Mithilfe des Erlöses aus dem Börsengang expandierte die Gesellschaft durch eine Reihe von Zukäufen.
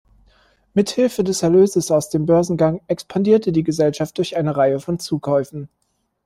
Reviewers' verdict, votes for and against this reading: accepted, 2, 0